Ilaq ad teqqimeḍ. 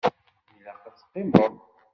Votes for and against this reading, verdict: 1, 2, rejected